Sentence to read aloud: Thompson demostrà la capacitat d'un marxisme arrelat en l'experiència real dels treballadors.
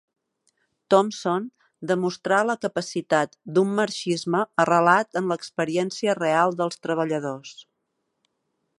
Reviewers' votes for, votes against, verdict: 3, 0, accepted